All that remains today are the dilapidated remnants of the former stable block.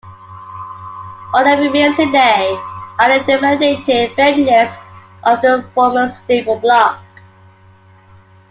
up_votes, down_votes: 0, 2